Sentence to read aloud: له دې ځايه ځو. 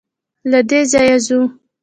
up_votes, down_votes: 1, 2